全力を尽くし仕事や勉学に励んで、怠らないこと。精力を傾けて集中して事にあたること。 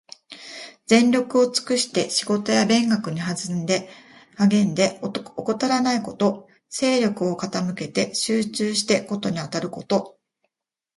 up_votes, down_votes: 0, 2